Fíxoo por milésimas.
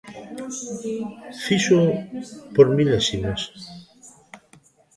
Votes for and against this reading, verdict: 2, 0, accepted